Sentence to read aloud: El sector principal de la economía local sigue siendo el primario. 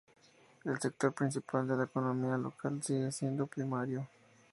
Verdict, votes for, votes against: accepted, 2, 0